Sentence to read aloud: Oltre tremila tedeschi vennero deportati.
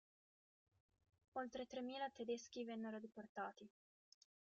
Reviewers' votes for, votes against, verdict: 2, 1, accepted